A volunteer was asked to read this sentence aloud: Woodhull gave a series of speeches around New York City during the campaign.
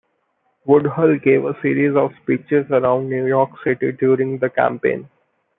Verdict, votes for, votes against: accepted, 2, 0